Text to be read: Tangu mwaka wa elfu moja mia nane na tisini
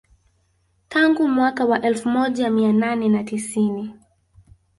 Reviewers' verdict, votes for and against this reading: accepted, 2, 1